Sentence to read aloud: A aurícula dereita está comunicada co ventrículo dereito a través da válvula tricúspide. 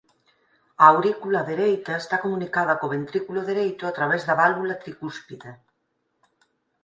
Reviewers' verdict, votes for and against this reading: rejected, 2, 4